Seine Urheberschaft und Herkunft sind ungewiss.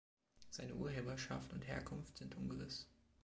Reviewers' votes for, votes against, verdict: 2, 1, accepted